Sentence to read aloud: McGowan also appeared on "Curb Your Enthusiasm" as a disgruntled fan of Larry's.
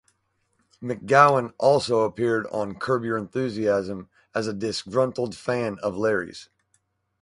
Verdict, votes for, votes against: accepted, 6, 0